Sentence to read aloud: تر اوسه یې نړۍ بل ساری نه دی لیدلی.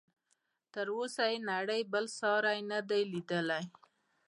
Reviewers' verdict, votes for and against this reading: accepted, 2, 0